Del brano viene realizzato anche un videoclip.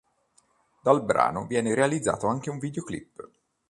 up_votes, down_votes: 0, 2